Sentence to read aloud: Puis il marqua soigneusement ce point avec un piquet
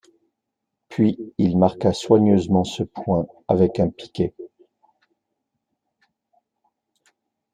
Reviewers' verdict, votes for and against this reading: accepted, 2, 0